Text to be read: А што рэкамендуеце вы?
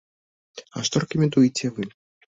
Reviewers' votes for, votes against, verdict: 2, 0, accepted